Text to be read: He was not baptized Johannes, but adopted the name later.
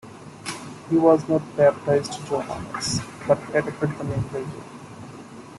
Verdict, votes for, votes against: rejected, 1, 2